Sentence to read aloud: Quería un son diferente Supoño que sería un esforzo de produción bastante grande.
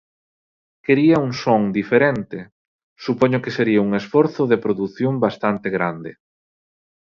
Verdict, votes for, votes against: accepted, 2, 0